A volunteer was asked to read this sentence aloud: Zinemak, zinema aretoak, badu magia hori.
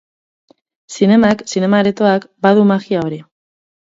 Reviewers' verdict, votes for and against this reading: accepted, 10, 0